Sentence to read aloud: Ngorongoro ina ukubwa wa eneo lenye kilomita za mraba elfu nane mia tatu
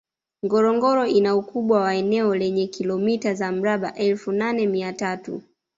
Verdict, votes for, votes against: rejected, 0, 2